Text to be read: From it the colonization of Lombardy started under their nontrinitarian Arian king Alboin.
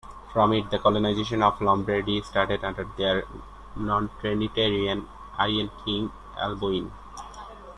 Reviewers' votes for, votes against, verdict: 1, 2, rejected